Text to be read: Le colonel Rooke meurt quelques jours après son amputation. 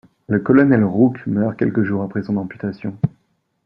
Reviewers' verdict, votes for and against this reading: accepted, 2, 0